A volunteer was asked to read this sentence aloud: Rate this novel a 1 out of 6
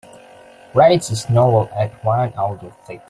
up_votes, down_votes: 0, 2